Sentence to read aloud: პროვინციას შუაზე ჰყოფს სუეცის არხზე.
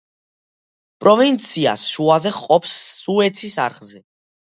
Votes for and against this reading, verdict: 2, 0, accepted